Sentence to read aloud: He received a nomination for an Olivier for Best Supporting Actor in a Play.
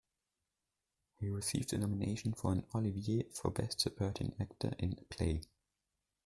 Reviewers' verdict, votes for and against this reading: accepted, 2, 0